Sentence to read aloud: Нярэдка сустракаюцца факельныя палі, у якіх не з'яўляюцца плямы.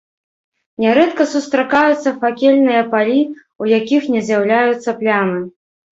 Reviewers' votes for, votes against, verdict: 2, 0, accepted